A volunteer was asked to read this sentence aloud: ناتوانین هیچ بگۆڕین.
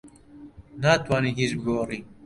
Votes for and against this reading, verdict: 1, 2, rejected